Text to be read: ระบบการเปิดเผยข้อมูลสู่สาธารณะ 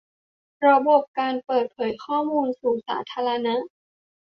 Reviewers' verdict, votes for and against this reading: accepted, 2, 0